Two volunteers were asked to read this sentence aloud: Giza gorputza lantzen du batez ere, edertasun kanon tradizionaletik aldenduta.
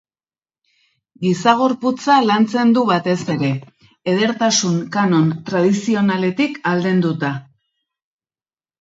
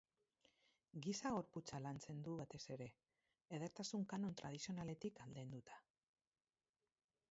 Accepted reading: first